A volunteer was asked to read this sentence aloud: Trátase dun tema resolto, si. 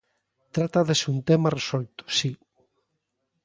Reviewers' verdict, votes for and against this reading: rejected, 0, 2